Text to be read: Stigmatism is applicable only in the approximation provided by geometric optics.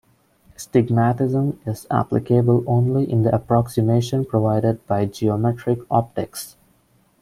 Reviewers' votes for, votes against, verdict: 2, 0, accepted